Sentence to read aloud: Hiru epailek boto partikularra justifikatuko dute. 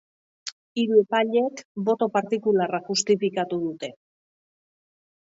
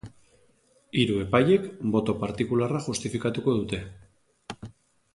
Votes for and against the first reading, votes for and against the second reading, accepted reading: 0, 4, 2, 0, second